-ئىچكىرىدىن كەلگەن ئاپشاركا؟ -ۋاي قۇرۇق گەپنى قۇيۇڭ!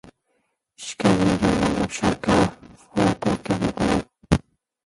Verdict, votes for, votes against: rejected, 0, 2